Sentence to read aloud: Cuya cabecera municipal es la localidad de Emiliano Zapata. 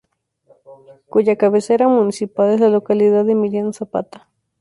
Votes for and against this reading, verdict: 2, 0, accepted